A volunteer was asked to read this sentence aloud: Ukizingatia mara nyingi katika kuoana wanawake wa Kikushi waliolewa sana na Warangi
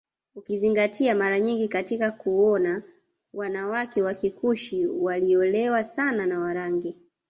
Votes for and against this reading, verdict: 1, 2, rejected